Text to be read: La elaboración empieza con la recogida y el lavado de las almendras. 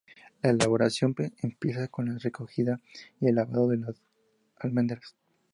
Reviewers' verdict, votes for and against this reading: rejected, 0, 2